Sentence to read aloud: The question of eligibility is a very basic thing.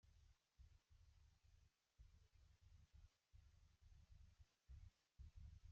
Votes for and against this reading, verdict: 0, 2, rejected